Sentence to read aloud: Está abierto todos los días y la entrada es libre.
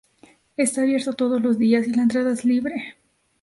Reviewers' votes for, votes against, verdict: 2, 0, accepted